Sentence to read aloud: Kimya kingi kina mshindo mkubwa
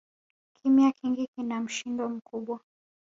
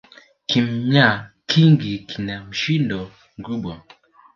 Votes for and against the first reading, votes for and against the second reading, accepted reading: 0, 2, 4, 0, second